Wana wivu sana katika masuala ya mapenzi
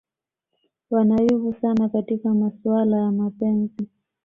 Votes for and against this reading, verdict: 1, 2, rejected